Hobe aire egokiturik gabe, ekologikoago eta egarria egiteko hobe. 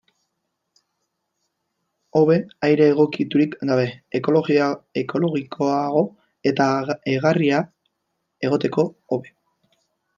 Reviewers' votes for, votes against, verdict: 0, 2, rejected